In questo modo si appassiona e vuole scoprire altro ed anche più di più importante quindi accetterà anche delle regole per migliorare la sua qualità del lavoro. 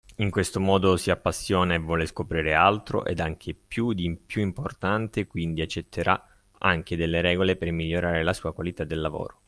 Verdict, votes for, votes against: accepted, 2, 1